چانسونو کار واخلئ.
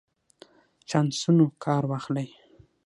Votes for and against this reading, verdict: 6, 3, accepted